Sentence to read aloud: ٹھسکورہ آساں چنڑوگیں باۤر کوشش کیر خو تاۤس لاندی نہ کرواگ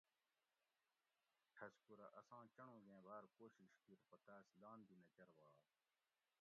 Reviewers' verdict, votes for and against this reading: rejected, 1, 2